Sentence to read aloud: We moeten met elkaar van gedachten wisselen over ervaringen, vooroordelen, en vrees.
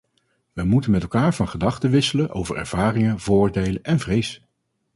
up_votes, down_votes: 2, 2